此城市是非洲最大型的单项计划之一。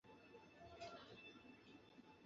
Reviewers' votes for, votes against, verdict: 0, 4, rejected